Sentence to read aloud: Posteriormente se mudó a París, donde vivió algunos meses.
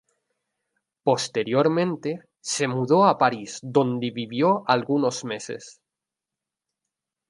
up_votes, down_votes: 0, 2